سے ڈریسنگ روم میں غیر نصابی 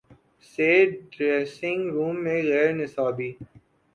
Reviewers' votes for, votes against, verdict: 2, 0, accepted